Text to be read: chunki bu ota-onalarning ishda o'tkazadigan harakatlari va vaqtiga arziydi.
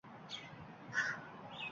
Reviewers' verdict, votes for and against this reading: rejected, 0, 2